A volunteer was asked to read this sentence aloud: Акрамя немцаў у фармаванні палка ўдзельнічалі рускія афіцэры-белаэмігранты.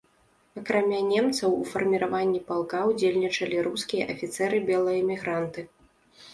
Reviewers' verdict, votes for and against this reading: rejected, 1, 2